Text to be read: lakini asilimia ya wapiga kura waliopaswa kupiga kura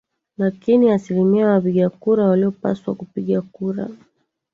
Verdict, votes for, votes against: rejected, 0, 2